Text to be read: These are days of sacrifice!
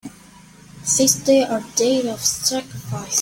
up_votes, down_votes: 0, 2